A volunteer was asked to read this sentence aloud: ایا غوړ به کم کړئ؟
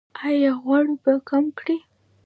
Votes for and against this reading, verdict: 2, 0, accepted